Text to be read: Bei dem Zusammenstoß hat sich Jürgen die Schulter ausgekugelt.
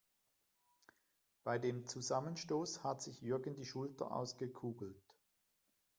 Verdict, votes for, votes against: accepted, 2, 0